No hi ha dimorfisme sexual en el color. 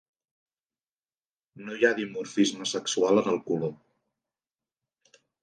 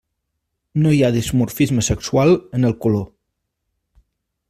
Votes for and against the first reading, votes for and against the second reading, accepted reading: 2, 0, 0, 2, first